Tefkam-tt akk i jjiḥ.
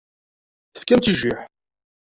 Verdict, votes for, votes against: rejected, 0, 2